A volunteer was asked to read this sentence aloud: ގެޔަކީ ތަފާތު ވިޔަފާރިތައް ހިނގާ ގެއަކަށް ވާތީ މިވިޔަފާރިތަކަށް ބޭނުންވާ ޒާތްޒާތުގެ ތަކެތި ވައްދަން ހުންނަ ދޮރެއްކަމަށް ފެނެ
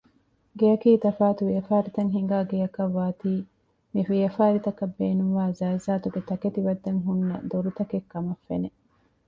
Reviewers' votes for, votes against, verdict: 0, 2, rejected